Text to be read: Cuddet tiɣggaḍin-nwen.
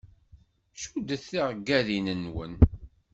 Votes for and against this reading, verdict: 2, 0, accepted